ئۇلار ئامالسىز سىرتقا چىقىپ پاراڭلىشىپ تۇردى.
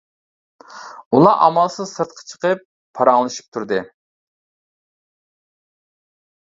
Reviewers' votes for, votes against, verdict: 1, 2, rejected